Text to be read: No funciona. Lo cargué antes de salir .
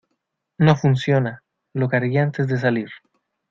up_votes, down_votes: 2, 0